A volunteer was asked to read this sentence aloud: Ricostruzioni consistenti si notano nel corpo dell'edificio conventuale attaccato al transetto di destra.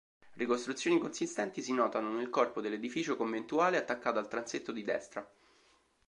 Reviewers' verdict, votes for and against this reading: accepted, 2, 0